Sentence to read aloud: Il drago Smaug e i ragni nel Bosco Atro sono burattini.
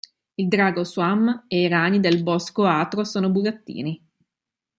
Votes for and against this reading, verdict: 1, 2, rejected